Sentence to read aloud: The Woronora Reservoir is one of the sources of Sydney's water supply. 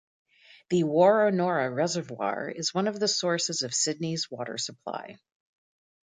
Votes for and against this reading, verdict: 2, 0, accepted